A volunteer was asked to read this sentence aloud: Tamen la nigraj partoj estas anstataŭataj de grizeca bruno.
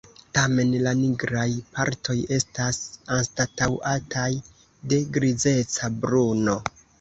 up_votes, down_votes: 2, 0